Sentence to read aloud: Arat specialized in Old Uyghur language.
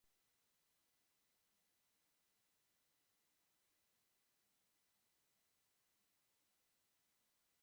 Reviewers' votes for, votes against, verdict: 0, 2, rejected